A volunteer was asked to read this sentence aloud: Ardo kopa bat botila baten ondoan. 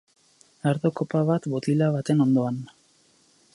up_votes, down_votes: 0, 2